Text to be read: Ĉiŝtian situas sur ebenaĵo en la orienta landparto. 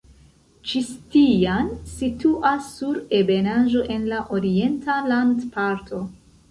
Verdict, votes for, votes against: rejected, 0, 2